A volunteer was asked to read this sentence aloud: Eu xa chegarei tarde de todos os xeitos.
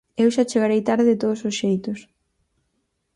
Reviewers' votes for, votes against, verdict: 4, 0, accepted